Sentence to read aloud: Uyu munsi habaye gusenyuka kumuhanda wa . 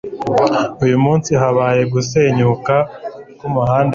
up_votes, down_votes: 0, 2